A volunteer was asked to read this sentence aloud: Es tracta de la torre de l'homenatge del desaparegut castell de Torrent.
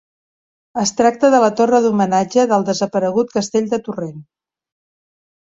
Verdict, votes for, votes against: rejected, 0, 2